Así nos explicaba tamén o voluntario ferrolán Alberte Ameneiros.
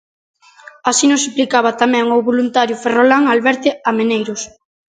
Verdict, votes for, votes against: rejected, 1, 2